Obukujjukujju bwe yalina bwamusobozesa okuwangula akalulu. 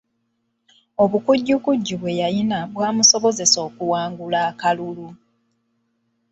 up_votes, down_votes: 1, 2